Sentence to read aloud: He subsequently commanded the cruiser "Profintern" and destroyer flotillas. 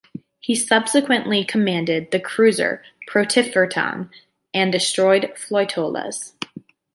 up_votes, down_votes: 1, 2